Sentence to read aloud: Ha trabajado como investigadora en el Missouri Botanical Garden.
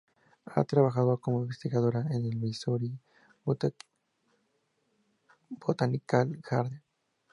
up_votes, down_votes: 0, 2